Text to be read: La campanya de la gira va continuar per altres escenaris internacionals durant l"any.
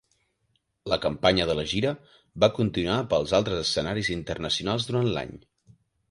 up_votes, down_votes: 1, 2